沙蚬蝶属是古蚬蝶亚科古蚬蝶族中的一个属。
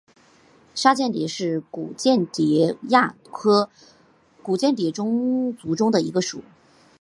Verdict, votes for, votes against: accepted, 5, 0